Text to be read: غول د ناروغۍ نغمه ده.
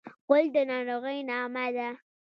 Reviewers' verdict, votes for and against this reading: rejected, 1, 2